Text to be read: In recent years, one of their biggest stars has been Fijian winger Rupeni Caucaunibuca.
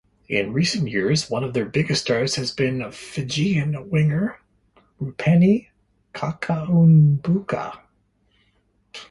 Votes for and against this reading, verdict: 0, 2, rejected